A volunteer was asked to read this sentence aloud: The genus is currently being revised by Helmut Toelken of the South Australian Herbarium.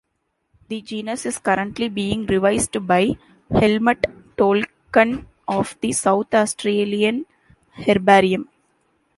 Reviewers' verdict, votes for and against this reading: accepted, 2, 0